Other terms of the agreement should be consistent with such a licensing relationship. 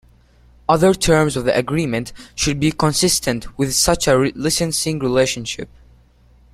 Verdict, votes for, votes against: rejected, 0, 2